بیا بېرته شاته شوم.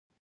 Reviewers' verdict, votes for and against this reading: rejected, 0, 2